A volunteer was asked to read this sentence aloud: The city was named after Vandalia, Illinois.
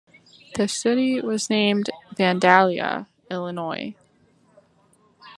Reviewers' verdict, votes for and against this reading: rejected, 0, 2